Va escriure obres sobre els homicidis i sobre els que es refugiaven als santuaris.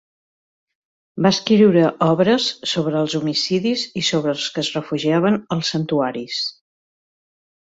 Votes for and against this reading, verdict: 2, 0, accepted